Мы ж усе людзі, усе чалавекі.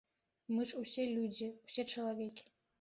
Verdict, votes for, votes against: accepted, 2, 0